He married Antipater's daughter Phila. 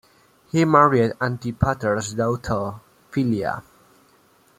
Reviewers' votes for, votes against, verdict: 2, 0, accepted